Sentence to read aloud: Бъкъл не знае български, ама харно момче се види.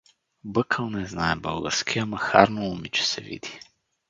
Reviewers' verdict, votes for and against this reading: rejected, 0, 2